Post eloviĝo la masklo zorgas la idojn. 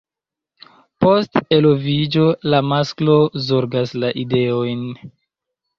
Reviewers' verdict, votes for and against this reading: rejected, 0, 2